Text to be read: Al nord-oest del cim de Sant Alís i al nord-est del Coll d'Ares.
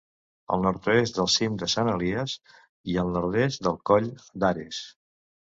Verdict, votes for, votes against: rejected, 0, 2